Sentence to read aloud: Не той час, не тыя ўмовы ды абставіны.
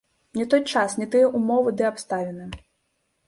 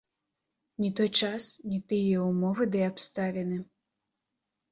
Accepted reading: second